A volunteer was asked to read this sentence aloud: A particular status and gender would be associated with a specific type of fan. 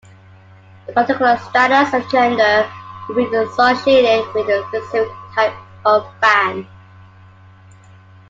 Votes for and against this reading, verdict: 2, 1, accepted